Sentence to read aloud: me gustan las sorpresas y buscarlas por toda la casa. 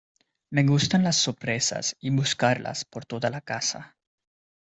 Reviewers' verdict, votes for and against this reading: accepted, 2, 0